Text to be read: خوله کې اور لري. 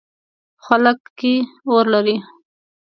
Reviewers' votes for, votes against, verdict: 0, 2, rejected